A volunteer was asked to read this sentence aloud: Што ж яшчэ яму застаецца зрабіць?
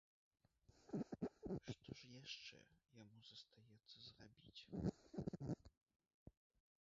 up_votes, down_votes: 0, 3